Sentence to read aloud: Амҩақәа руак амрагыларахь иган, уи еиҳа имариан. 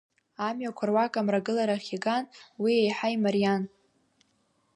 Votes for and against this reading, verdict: 2, 1, accepted